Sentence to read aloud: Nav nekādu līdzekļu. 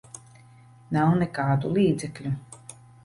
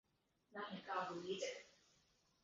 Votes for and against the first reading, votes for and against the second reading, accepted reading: 2, 0, 0, 2, first